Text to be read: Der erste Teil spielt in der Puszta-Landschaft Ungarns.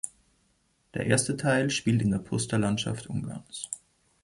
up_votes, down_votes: 2, 0